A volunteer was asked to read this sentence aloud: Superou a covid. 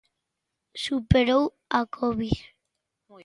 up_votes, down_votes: 1, 2